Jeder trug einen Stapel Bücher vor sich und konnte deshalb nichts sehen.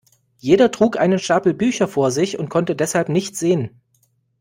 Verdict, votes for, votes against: accepted, 2, 0